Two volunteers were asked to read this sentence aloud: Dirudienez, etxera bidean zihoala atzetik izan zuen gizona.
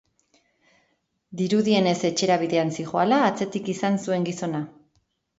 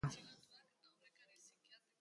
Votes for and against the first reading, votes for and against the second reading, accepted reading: 3, 0, 0, 2, first